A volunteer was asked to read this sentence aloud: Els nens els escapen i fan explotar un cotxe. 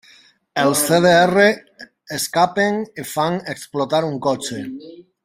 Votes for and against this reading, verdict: 0, 2, rejected